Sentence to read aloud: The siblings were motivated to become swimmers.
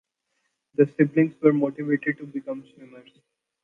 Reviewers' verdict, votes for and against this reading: accepted, 2, 0